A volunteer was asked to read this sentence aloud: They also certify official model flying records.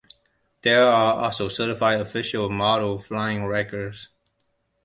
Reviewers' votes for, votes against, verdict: 1, 2, rejected